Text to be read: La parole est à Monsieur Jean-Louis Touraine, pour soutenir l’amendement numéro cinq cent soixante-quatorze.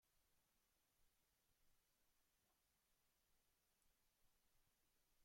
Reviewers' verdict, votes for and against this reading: rejected, 0, 2